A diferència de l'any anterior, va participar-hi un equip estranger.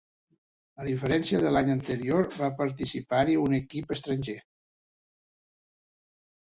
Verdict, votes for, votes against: accepted, 3, 0